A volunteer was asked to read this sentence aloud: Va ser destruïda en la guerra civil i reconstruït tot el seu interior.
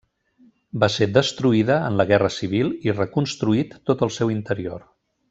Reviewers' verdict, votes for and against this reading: accepted, 3, 0